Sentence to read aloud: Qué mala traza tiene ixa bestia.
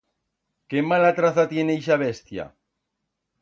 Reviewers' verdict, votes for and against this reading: accepted, 2, 0